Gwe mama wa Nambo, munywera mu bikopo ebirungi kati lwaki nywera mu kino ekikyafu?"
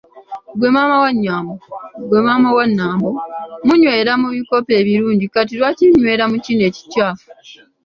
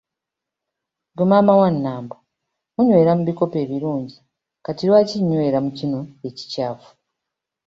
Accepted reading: second